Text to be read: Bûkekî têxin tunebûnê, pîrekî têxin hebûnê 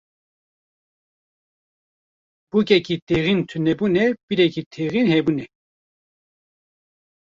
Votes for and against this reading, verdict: 1, 2, rejected